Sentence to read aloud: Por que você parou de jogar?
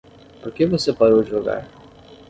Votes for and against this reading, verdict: 5, 0, accepted